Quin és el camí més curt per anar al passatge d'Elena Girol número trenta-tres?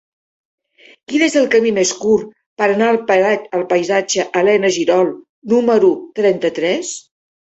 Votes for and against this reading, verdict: 0, 2, rejected